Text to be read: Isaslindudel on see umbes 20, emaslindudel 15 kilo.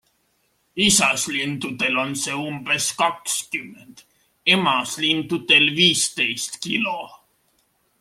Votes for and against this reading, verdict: 0, 2, rejected